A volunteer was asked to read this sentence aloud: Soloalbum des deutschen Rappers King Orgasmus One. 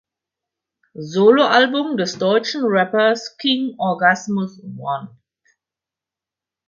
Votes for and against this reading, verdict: 4, 0, accepted